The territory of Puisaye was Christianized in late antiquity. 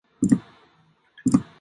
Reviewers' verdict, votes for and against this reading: rejected, 0, 2